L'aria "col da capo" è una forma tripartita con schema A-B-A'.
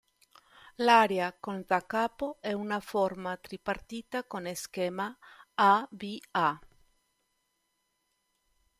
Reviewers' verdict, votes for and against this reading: accepted, 2, 0